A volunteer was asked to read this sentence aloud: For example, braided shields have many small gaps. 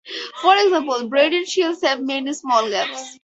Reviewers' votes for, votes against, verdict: 2, 4, rejected